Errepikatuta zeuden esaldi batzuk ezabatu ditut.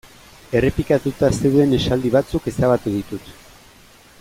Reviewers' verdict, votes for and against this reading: accepted, 3, 0